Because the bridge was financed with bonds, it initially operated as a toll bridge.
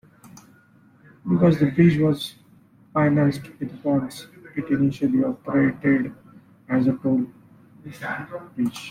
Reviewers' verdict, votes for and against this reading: rejected, 0, 2